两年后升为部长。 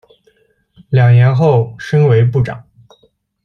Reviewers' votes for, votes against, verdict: 1, 2, rejected